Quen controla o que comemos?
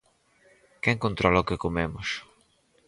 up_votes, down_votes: 4, 0